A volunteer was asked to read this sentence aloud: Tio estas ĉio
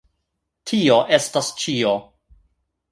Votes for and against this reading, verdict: 2, 0, accepted